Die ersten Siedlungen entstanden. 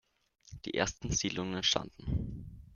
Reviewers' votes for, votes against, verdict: 2, 1, accepted